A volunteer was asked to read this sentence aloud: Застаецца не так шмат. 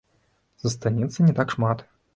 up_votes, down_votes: 0, 2